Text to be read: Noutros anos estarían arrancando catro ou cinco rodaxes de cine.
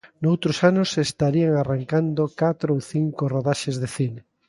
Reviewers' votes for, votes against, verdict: 2, 0, accepted